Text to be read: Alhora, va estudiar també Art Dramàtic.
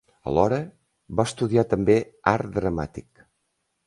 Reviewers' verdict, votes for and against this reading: accepted, 2, 0